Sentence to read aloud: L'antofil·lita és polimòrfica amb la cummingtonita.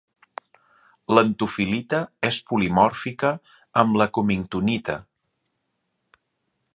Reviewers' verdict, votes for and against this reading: accepted, 2, 0